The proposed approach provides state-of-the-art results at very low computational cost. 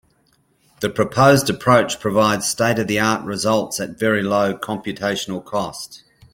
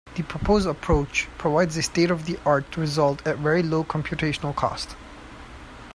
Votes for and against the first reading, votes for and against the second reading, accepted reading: 2, 0, 1, 2, first